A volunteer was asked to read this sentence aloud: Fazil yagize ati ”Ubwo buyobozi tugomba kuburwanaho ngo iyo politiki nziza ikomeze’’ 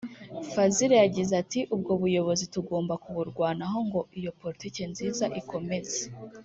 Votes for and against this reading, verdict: 2, 0, accepted